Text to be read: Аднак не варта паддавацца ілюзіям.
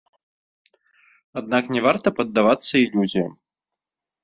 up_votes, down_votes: 2, 0